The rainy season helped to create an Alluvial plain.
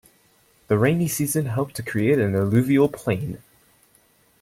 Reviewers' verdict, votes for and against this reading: accepted, 2, 0